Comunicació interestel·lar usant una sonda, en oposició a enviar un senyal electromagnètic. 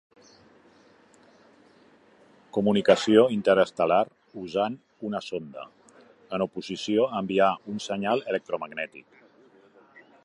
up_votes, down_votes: 2, 0